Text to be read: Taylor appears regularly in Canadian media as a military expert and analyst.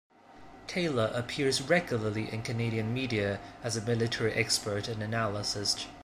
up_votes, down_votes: 2, 1